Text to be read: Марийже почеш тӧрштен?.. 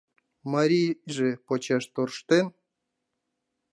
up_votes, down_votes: 0, 2